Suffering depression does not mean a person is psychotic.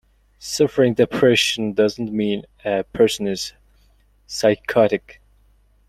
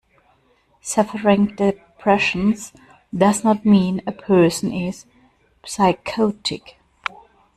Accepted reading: first